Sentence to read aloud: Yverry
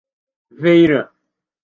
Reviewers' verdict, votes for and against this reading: rejected, 1, 2